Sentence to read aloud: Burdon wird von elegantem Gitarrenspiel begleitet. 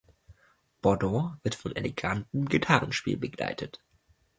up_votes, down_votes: 1, 2